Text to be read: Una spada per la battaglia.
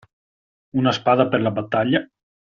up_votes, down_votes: 2, 1